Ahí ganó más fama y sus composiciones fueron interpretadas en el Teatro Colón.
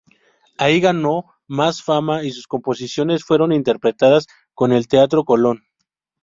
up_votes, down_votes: 0, 2